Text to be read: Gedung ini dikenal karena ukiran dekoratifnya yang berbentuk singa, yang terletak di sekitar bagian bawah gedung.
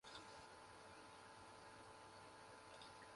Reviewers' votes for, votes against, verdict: 0, 2, rejected